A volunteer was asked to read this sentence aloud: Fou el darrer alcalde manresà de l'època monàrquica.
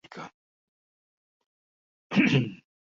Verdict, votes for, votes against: rejected, 0, 2